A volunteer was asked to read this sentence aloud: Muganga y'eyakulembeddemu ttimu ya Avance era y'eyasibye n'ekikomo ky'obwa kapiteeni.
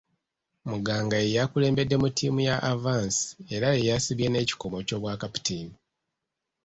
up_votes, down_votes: 2, 0